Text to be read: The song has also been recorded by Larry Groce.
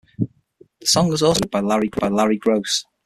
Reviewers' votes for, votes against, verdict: 0, 6, rejected